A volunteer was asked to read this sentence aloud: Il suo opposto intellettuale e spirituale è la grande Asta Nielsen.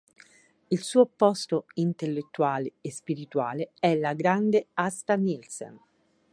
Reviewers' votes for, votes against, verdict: 3, 0, accepted